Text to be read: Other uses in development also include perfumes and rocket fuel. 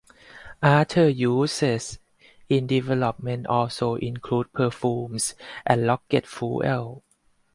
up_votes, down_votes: 2, 2